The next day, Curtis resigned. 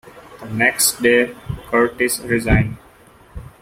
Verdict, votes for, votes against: accepted, 2, 0